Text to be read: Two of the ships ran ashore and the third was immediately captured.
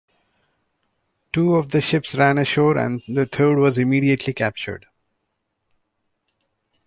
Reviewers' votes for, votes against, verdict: 2, 0, accepted